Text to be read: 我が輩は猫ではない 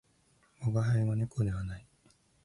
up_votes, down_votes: 2, 2